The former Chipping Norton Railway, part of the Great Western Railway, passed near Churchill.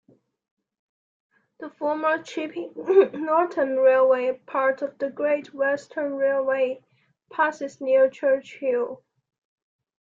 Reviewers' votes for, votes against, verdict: 0, 2, rejected